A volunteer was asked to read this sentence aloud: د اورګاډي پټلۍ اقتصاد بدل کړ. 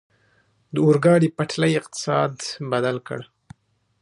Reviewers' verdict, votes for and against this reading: accepted, 2, 0